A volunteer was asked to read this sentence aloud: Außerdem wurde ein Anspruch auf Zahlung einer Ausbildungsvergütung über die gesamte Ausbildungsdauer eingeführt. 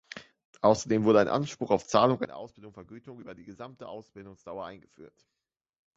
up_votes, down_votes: 0, 2